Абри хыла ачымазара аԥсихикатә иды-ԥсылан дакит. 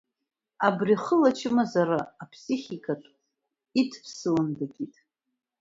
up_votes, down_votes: 2, 0